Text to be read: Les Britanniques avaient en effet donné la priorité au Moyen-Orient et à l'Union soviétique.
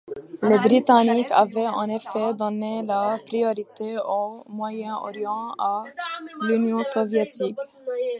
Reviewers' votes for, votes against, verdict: 0, 2, rejected